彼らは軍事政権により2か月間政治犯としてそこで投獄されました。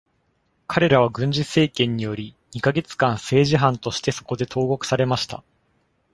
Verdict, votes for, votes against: rejected, 0, 2